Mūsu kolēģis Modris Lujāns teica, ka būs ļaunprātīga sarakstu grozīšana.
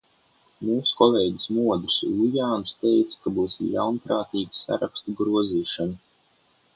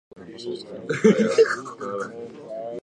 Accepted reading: first